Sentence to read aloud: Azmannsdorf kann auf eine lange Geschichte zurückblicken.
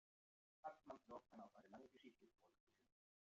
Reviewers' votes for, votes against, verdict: 0, 2, rejected